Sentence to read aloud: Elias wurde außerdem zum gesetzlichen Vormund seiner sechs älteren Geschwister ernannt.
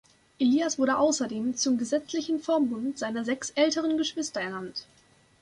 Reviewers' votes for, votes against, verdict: 2, 0, accepted